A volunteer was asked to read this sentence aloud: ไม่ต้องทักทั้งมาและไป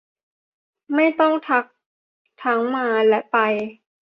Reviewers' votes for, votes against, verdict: 2, 0, accepted